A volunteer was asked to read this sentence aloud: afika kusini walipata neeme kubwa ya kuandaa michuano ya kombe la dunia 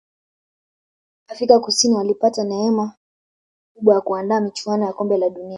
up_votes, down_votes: 2, 0